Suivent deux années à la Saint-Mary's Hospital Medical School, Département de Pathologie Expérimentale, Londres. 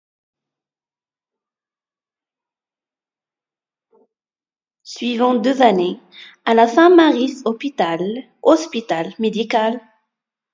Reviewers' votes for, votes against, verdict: 0, 2, rejected